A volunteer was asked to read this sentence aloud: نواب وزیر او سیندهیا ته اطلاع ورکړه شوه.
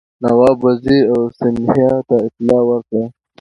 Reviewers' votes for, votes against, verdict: 2, 0, accepted